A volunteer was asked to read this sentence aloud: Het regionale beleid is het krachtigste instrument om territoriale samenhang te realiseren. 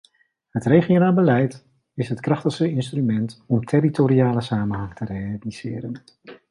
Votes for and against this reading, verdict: 1, 2, rejected